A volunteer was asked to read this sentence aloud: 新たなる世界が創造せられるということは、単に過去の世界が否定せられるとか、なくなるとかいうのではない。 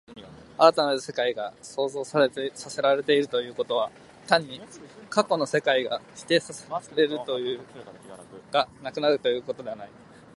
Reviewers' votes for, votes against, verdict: 2, 4, rejected